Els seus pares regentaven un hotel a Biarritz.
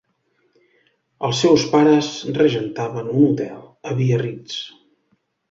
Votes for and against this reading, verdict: 2, 0, accepted